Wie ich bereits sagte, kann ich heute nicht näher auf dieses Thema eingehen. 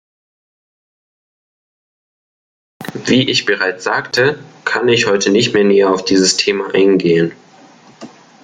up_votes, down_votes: 1, 3